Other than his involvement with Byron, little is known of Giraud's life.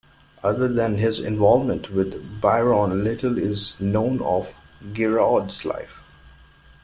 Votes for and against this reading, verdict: 2, 1, accepted